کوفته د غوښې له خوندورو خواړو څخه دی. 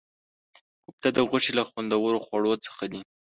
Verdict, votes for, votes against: rejected, 0, 2